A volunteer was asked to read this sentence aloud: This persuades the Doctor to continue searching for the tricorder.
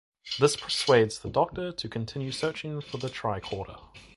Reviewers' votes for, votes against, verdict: 2, 0, accepted